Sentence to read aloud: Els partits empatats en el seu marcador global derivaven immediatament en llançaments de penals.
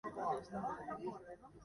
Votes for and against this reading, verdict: 1, 2, rejected